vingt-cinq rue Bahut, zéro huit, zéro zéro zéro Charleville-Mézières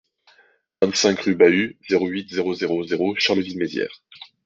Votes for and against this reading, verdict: 2, 0, accepted